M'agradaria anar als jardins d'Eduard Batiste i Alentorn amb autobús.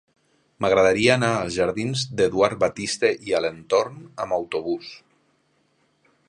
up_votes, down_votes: 3, 0